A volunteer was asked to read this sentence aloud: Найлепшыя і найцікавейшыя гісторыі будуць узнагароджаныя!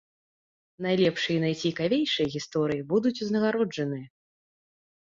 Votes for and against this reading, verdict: 1, 2, rejected